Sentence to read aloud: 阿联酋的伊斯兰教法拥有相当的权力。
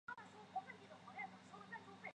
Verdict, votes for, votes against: accepted, 3, 1